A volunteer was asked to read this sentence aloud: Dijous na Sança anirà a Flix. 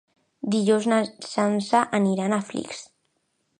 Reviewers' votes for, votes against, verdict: 0, 2, rejected